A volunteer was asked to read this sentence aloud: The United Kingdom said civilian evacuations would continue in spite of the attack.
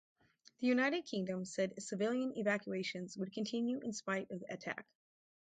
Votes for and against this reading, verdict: 0, 4, rejected